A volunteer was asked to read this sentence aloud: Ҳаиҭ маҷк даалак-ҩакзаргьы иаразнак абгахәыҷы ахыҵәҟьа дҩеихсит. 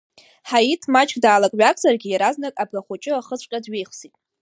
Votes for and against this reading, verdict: 1, 2, rejected